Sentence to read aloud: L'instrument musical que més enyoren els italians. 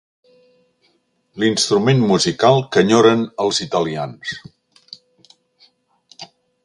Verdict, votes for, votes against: rejected, 1, 2